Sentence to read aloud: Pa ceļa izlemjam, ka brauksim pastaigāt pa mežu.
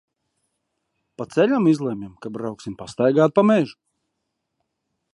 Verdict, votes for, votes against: accepted, 2, 0